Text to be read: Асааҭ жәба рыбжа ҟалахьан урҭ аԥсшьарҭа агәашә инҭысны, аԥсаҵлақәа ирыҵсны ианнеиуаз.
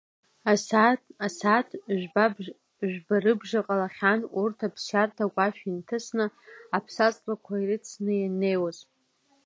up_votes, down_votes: 0, 2